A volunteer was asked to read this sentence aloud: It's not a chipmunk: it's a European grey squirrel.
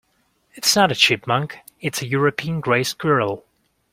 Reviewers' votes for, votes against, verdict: 2, 0, accepted